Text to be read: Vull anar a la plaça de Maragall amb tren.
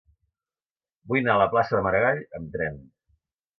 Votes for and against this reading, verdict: 2, 0, accepted